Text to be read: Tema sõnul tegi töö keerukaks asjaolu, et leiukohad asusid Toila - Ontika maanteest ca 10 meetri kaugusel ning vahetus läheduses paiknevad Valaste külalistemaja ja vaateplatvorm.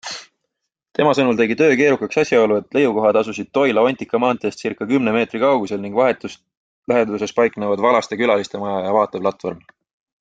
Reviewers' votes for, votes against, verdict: 0, 2, rejected